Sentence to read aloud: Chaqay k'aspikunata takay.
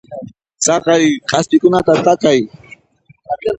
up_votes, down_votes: 2, 0